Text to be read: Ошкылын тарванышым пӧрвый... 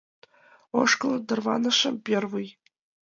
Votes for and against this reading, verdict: 1, 2, rejected